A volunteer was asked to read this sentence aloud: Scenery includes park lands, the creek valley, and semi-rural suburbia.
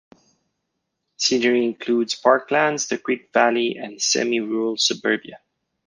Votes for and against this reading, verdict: 2, 0, accepted